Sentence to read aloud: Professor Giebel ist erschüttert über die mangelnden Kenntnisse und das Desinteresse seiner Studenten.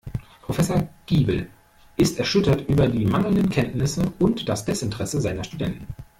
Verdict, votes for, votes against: rejected, 1, 2